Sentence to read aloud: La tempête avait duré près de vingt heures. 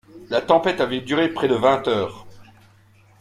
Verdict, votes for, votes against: rejected, 1, 2